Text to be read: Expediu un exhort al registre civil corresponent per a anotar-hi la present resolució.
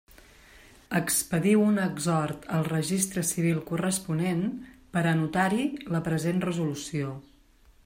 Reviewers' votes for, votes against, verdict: 3, 0, accepted